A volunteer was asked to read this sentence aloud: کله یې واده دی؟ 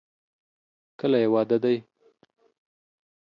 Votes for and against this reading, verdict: 2, 0, accepted